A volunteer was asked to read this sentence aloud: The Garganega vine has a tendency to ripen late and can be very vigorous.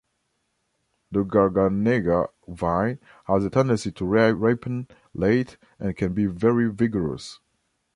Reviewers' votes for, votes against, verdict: 0, 2, rejected